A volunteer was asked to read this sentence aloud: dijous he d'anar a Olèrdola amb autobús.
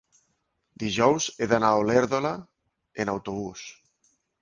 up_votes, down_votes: 1, 3